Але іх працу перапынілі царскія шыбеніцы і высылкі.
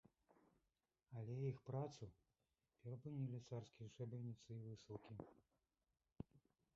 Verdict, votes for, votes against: rejected, 0, 2